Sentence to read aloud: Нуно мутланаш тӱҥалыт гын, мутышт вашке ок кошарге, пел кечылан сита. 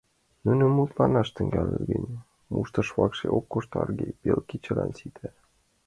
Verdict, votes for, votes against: rejected, 0, 2